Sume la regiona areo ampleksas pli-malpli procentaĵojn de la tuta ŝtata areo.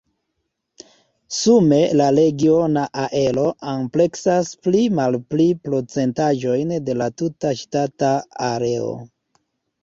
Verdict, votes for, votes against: rejected, 1, 2